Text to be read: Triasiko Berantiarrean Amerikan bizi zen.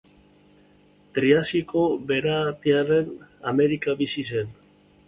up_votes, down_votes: 1, 2